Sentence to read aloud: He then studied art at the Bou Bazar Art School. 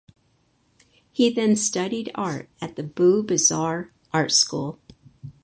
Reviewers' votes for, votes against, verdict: 4, 0, accepted